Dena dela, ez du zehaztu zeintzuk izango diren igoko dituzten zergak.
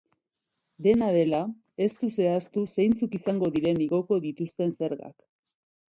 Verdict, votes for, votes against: accepted, 2, 0